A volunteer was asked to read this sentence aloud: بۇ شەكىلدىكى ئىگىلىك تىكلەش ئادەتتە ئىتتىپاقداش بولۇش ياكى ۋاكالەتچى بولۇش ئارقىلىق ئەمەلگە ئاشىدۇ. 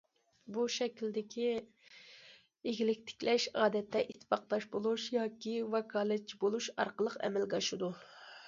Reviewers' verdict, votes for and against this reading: accepted, 2, 0